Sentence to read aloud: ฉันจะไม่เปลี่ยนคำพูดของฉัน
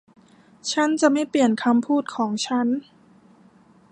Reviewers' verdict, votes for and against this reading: accepted, 2, 0